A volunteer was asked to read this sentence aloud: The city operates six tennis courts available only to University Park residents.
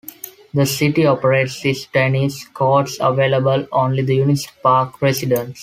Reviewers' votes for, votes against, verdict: 0, 2, rejected